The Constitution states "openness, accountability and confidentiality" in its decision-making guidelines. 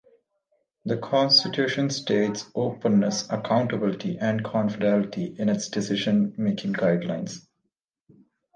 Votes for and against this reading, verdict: 0, 2, rejected